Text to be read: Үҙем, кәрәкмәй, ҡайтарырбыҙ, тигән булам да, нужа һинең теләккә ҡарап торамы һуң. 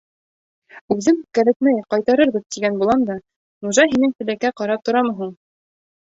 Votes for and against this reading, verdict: 0, 2, rejected